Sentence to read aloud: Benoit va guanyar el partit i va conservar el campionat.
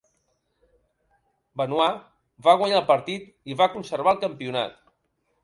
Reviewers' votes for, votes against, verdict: 3, 0, accepted